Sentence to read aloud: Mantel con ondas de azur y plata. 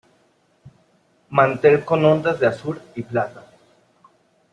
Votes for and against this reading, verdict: 2, 0, accepted